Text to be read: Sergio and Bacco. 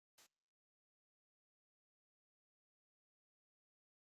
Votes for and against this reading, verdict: 0, 2, rejected